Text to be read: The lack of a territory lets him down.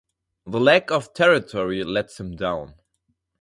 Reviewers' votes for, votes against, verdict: 0, 2, rejected